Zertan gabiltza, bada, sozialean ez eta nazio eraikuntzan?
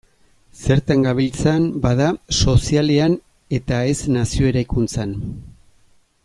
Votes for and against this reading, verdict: 0, 2, rejected